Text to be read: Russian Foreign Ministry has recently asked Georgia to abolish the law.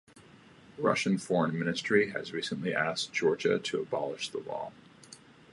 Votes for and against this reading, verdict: 2, 0, accepted